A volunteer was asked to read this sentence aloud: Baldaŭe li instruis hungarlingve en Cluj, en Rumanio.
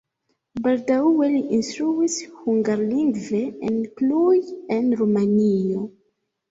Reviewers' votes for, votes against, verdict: 0, 2, rejected